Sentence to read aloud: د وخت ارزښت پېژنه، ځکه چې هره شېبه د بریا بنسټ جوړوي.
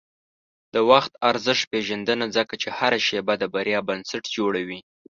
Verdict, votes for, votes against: rejected, 0, 2